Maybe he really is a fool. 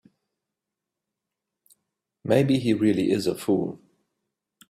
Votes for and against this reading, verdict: 2, 0, accepted